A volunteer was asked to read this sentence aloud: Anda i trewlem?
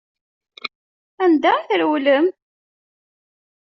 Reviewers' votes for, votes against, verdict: 2, 0, accepted